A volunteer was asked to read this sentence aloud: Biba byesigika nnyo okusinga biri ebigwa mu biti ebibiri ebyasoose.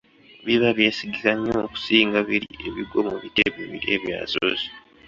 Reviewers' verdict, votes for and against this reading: accepted, 3, 0